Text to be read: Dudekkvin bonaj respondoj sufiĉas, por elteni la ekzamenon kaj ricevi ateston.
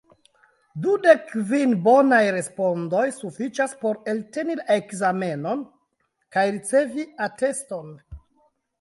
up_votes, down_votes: 0, 2